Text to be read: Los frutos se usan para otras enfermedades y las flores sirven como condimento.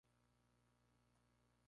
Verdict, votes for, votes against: rejected, 0, 4